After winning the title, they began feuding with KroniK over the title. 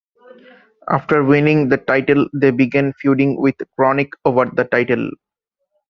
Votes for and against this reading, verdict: 1, 2, rejected